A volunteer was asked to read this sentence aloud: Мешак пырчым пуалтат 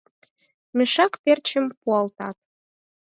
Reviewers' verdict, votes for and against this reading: rejected, 0, 4